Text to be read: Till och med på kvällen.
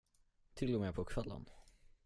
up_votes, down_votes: 10, 0